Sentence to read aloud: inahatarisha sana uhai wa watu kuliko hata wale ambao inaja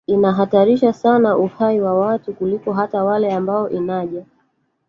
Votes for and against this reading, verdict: 1, 2, rejected